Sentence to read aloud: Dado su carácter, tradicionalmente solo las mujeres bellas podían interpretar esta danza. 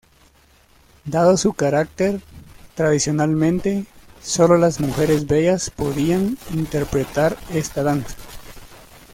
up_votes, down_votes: 2, 0